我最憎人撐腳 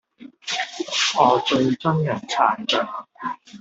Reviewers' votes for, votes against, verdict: 1, 2, rejected